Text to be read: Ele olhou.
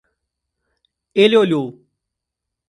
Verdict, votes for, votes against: accepted, 2, 0